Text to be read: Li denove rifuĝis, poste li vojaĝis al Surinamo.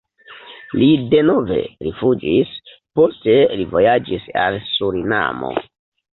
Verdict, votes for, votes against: accepted, 2, 1